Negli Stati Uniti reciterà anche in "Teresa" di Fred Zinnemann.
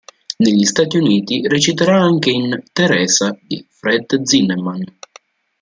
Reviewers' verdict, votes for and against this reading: rejected, 1, 2